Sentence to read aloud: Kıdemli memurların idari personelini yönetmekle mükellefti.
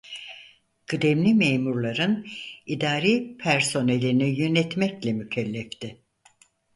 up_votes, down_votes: 4, 0